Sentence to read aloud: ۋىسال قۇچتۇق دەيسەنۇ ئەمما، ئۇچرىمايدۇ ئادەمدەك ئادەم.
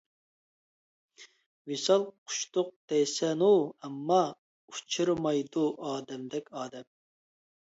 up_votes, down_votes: 2, 0